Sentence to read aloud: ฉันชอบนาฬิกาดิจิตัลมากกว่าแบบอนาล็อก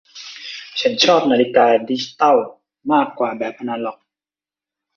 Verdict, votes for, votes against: accepted, 2, 0